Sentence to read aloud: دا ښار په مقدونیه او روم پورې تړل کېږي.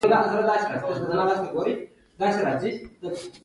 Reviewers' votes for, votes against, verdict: 2, 0, accepted